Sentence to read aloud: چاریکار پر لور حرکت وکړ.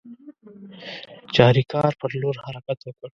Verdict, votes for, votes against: accepted, 2, 0